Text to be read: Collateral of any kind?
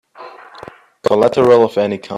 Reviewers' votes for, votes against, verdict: 1, 2, rejected